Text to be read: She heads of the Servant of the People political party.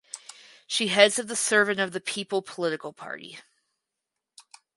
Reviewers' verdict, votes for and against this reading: accepted, 4, 0